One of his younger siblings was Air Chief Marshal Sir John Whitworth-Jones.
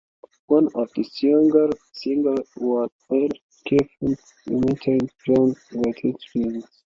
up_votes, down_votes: 0, 2